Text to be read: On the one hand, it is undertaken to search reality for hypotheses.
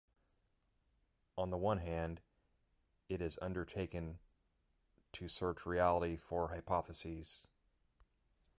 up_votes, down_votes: 1, 2